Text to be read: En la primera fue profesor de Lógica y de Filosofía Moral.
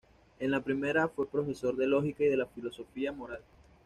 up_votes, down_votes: 2, 0